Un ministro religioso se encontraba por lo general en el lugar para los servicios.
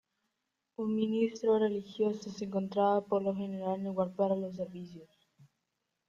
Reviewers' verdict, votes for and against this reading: rejected, 1, 2